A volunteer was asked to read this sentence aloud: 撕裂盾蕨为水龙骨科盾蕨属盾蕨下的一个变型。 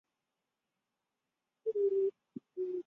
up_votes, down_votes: 0, 8